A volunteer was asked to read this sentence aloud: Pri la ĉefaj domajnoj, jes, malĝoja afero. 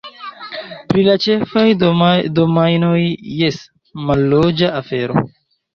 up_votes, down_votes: 0, 2